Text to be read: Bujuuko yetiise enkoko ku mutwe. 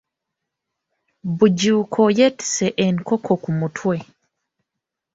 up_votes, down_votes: 2, 1